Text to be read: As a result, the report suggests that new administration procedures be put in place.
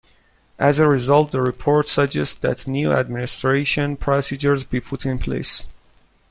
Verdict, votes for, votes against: accepted, 2, 0